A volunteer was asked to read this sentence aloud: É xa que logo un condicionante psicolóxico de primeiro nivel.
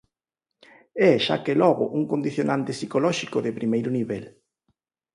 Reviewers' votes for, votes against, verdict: 4, 0, accepted